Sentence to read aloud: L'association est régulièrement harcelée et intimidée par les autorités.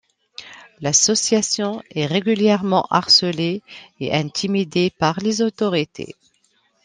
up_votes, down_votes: 2, 0